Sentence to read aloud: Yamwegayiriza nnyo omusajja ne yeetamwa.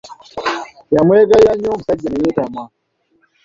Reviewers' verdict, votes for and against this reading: rejected, 0, 2